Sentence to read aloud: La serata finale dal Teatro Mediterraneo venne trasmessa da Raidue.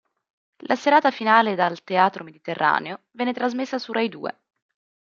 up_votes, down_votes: 0, 2